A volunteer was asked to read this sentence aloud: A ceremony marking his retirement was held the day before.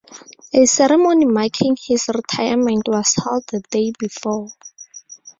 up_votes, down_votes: 4, 0